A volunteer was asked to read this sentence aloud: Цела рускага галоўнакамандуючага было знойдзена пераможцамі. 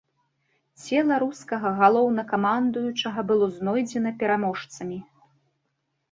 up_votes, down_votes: 3, 0